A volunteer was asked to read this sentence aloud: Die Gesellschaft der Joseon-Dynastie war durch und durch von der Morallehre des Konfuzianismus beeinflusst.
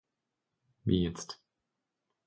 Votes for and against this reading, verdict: 0, 2, rejected